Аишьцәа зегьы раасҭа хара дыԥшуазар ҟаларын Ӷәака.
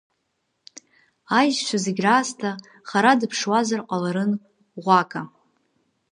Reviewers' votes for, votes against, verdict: 2, 1, accepted